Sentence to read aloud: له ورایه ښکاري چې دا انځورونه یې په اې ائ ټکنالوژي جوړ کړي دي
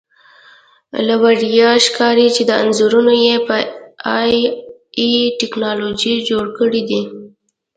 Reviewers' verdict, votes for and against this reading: accepted, 2, 1